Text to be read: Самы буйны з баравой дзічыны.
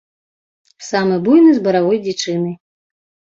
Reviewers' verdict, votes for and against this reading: accepted, 2, 0